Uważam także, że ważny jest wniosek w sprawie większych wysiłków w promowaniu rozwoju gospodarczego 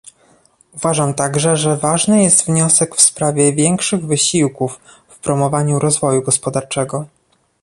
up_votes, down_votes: 2, 0